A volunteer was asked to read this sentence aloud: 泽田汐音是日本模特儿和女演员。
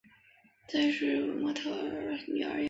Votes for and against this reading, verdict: 2, 5, rejected